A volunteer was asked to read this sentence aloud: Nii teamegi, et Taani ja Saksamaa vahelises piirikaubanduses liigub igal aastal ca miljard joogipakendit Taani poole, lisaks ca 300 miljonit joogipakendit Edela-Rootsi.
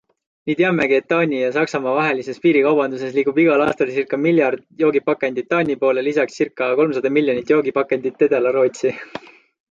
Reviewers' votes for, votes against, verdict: 0, 2, rejected